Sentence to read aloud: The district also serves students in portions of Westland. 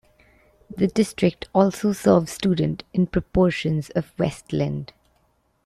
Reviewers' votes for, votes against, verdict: 1, 2, rejected